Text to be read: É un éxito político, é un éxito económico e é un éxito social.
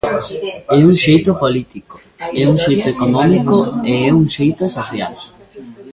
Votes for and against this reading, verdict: 0, 2, rejected